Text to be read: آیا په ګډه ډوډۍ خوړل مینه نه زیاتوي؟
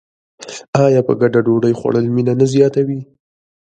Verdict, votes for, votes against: accepted, 2, 0